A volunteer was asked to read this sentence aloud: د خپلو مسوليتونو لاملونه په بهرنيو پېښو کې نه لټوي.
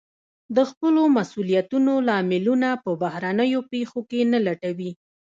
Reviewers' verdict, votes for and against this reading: rejected, 0, 2